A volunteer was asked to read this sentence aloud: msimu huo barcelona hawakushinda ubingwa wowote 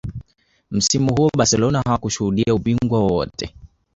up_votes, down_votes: 1, 2